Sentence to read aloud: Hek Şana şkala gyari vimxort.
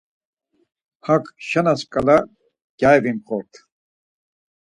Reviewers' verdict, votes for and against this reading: rejected, 2, 4